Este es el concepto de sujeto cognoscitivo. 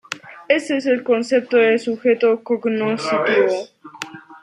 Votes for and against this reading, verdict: 1, 2, rejected